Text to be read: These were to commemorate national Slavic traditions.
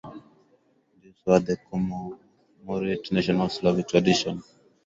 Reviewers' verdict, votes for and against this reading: rejected, 2, 4